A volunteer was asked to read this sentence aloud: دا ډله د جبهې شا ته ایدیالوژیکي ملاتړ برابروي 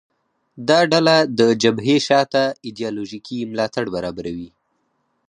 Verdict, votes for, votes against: accepted, 4, 0